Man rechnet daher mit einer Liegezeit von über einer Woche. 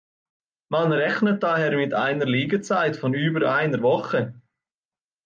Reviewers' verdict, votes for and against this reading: accepted, 2, 0